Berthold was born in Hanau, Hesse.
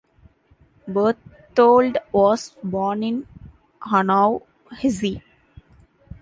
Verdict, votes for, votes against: rejected, 1, 2